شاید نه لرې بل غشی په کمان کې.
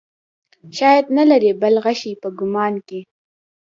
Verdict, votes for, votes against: accepted, 2, 0